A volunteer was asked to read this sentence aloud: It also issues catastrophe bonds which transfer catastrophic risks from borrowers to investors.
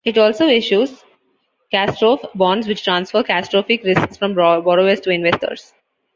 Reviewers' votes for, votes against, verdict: 1, 2, rejected